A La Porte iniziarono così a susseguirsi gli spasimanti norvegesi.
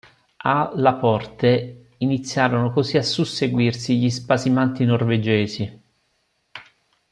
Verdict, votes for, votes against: rejected, 1, 2